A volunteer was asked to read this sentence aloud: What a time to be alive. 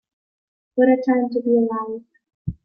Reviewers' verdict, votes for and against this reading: accepted, 2, 1